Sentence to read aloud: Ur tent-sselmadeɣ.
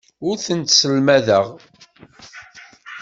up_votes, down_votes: 2, 0